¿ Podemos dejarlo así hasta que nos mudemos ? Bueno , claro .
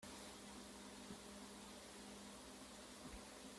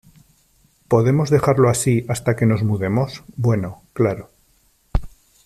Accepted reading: second